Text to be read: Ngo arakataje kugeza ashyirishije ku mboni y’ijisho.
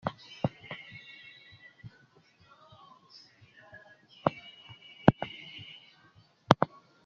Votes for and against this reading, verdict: 0, 2, rejected